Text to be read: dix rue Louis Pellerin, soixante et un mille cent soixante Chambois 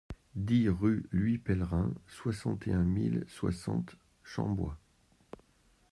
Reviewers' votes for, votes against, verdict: 1, 2, rejected